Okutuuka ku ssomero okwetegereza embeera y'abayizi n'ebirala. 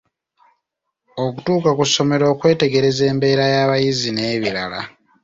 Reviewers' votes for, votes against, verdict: 2, 0, accepted